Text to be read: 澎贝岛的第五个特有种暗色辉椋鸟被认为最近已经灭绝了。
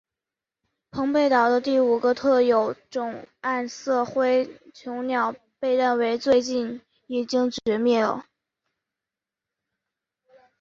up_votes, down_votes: 3, 1